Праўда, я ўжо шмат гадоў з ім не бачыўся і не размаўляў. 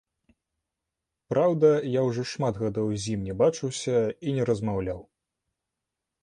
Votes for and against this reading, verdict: 2, 0, accepted